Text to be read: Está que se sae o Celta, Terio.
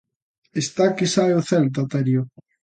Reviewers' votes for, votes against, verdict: 0, 2, rejected